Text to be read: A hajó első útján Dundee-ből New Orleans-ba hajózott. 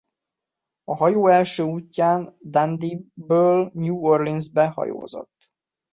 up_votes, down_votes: 0, 2